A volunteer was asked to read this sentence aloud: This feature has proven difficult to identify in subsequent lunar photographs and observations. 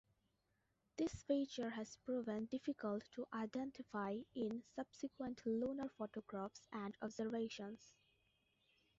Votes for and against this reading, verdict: 2, 0, accepted